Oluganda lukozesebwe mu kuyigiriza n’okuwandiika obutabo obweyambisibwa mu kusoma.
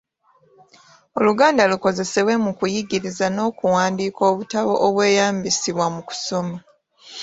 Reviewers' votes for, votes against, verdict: 2, 0, accepted